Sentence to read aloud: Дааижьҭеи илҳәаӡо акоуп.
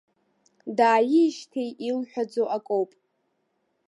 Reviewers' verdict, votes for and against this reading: accepted, 2, 1